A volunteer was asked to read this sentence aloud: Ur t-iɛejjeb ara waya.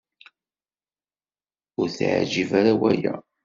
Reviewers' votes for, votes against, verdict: 3, 0, accepted